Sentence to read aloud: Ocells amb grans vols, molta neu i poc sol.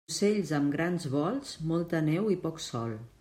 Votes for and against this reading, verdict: 1, 2, rejected